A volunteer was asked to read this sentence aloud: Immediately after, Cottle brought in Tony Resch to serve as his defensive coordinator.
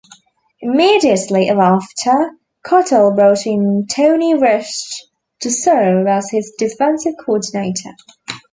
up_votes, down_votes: 0, 2